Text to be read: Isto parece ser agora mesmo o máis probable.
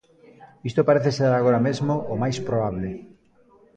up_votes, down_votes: 1, 2